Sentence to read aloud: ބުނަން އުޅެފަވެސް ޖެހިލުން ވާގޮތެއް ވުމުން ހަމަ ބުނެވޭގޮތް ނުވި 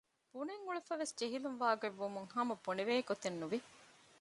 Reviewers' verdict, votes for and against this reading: rejected, 0, 2